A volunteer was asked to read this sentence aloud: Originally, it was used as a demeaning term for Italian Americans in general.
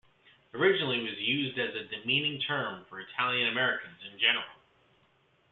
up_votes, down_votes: 2, 0